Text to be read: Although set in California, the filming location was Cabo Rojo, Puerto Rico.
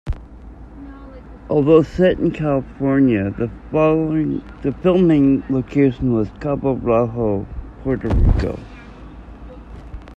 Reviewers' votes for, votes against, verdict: 1, 2, rejected